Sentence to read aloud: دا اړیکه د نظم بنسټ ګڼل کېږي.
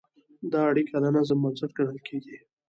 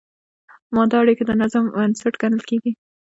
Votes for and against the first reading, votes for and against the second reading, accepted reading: 2, 0, 1, 2, first